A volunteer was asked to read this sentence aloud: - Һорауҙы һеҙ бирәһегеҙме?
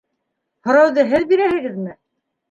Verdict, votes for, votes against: accepted, 2, 0